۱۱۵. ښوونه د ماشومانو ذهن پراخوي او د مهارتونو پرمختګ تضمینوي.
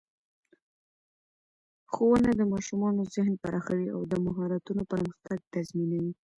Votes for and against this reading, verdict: 0, 2, rejected